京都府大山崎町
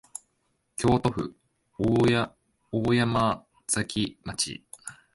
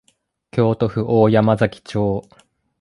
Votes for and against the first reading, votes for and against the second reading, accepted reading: 0, 2, 2, 0, second